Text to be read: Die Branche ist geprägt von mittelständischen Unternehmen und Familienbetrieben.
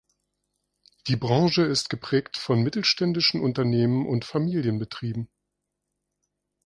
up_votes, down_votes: 2, 0